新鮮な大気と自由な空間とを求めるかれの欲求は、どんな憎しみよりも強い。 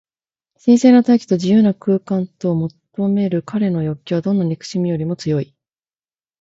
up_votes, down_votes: 0, 2